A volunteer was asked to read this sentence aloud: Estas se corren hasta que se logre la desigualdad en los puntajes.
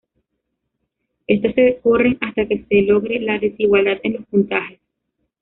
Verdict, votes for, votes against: rejected, 1, 2